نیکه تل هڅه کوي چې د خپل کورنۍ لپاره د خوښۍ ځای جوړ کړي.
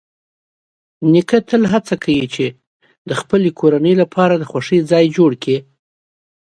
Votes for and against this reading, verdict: 2, 0, accepted